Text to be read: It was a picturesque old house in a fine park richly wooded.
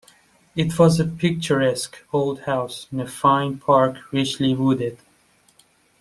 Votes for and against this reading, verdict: 2, 0, accepted